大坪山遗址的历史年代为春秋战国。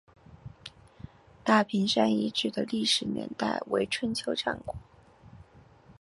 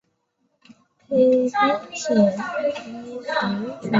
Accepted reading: first